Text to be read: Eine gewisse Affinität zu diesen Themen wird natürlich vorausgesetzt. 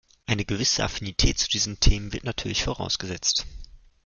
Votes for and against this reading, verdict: 2, 0, accepted